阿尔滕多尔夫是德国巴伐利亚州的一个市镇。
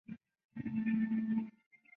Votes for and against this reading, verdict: 3, 1, accepted